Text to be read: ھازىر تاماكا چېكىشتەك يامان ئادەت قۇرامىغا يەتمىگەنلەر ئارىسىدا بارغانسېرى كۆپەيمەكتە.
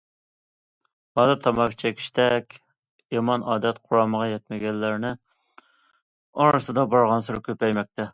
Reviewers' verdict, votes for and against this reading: rejected, 0, 2